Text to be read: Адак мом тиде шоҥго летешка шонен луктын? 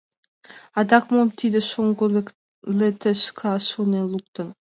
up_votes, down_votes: 2, 1